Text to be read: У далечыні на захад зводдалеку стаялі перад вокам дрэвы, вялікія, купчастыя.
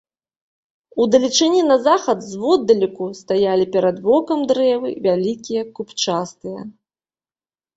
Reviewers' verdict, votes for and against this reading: accepted, 2, 0